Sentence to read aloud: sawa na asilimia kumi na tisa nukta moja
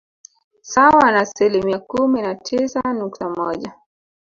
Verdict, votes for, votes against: accepted, 3, 1